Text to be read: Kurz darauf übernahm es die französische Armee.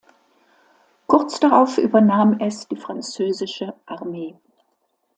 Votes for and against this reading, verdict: 2, 0, accepted